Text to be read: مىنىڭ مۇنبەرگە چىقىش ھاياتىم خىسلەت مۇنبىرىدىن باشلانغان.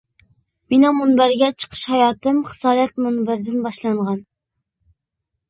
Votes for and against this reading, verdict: 0, 2, rejected